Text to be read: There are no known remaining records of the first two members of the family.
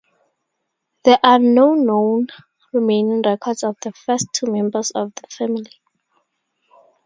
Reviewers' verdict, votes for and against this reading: accepted, 2, 0